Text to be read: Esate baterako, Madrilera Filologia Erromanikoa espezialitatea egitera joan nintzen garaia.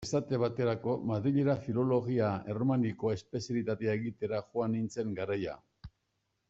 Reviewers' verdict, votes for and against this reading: accepted, 2, 0